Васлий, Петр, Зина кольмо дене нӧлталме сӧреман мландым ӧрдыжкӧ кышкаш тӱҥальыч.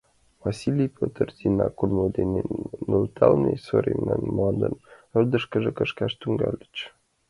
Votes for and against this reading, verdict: 1, 2, rejected